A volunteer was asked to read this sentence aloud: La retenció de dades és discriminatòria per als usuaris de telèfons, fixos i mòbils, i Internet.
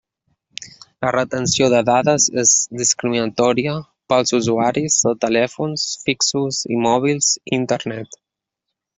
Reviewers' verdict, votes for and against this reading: rejected, 0, 2